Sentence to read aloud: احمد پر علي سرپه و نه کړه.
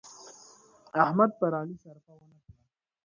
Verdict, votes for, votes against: rejected, 0, 2